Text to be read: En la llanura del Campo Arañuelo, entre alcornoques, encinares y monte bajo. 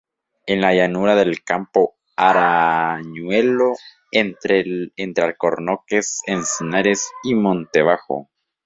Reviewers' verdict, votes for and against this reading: rejected, 0, 2